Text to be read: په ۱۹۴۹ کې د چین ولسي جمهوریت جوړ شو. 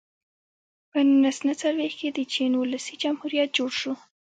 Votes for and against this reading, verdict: 0, 2, rejected